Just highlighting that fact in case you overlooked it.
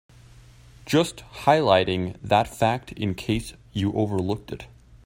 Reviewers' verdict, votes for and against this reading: accepted, 2, 0